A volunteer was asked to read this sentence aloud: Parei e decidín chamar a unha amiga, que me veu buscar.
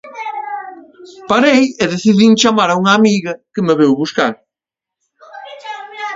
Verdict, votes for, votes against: rejected, 0, 2